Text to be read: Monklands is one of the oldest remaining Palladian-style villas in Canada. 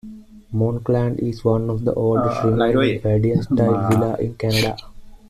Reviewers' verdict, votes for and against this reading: rejected, 1, 2